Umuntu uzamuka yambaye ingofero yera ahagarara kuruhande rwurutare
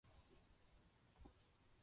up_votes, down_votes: 0, 2